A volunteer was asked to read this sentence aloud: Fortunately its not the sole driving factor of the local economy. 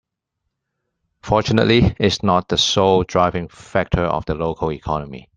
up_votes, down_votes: 2, 1